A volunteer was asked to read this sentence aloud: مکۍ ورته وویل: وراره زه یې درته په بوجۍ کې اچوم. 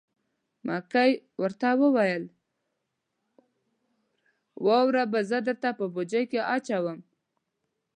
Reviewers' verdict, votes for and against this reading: rejected, 0, 2